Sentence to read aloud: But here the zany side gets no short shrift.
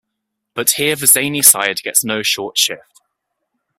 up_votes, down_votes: 1, 2